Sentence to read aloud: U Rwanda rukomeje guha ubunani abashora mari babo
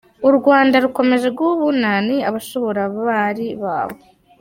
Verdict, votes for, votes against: rejected, 0, 2